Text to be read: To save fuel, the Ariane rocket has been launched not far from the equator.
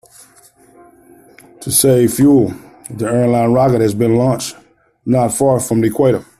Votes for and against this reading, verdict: 1, 2, rejected